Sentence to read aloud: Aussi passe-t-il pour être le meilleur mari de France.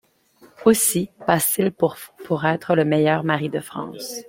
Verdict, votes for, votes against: rejected, 1, 2